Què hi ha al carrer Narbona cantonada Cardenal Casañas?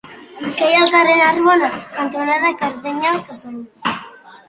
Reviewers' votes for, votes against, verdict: 1, 2, rejected